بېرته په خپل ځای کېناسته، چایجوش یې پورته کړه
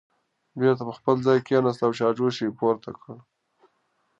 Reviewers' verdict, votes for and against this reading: accepted, 2, 0